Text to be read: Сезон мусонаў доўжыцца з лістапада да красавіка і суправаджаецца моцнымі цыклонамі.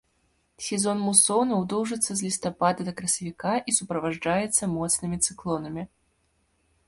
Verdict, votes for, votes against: rejected, 0, 2